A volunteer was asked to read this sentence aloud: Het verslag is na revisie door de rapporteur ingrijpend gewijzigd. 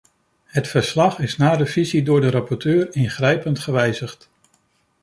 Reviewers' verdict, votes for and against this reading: accepted, 2, 0